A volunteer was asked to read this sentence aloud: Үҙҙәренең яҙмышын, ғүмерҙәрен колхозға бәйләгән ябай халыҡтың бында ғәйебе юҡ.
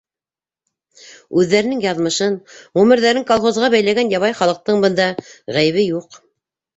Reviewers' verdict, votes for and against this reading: accepted, 2, 0